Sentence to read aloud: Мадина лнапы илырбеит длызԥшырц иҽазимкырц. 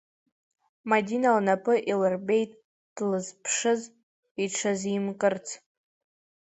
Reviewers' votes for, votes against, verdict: 0, 2, rejected